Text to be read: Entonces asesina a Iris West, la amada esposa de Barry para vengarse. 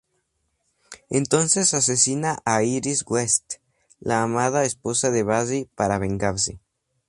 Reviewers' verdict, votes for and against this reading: accepted, 4, 0